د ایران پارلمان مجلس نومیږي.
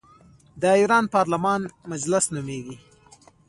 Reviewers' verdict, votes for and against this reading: rejected, 1, 2